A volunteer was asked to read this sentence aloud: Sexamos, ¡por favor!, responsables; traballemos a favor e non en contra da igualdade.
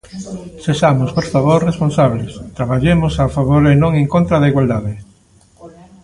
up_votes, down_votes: 2, 0